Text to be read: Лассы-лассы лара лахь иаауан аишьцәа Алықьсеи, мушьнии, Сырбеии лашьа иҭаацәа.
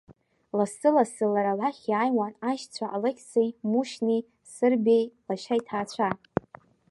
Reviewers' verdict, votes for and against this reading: accepted, 2, 0